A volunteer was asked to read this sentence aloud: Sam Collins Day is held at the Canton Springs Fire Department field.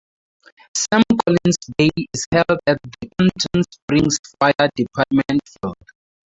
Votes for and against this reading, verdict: 0, 4, rejected